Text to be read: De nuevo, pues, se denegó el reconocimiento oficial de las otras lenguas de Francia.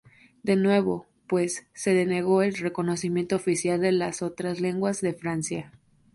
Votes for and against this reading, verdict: 0, 2, rejected